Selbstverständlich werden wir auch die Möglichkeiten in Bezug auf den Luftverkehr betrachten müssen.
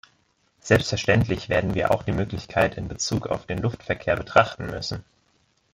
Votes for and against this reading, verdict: 1, 2, rejected